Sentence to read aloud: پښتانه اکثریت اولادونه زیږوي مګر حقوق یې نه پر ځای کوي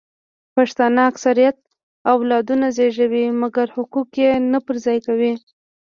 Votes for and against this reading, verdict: 1, 2, rejected